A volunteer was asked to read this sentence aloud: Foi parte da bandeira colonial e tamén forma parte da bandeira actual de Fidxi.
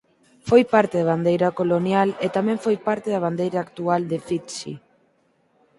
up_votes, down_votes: 2, 4